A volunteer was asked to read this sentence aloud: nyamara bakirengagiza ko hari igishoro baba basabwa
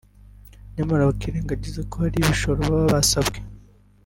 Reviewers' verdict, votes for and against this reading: rejected, 1, 2